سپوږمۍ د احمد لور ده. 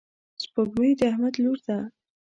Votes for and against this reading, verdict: 2, 0, accepted